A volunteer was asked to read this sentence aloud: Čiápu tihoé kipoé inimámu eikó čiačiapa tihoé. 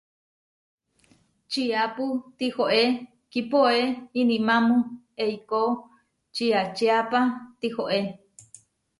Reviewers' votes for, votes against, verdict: 2, 0, accepted